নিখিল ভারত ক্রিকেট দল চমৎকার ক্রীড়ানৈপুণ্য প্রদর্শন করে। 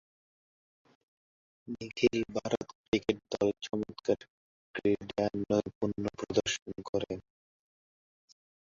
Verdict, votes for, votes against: rejected, 0, 2